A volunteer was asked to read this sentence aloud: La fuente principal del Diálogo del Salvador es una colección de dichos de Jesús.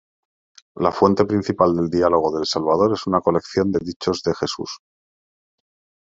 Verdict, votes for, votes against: accepted, 2, 0